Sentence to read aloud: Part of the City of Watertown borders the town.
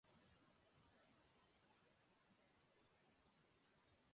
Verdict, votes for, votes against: rejected, 0, 2